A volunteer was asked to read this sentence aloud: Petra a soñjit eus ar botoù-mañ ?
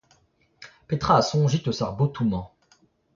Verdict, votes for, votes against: rejected, 0, 2